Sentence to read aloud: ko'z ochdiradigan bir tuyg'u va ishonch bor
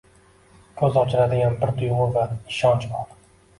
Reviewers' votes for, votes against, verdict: 2, 0, accepted